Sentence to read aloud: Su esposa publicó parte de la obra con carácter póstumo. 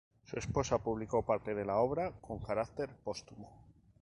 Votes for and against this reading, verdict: 2, 0, accepted